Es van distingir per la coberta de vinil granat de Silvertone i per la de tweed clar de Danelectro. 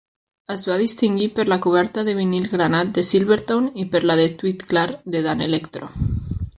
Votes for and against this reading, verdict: 1, 2, rejected